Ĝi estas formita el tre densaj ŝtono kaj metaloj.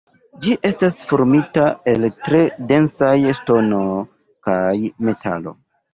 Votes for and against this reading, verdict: 1, 2, rejected